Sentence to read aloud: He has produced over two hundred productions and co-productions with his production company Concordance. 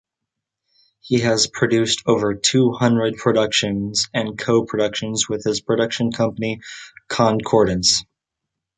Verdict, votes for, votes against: accepted, 2, 0